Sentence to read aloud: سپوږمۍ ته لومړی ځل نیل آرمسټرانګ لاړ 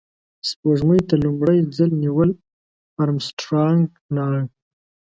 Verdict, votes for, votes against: accepted, 2, 0